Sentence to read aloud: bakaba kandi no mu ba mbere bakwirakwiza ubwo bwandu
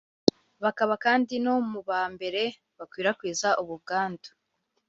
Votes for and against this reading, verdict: 4, 0, accepted